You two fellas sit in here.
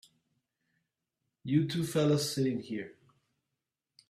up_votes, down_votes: 2, 0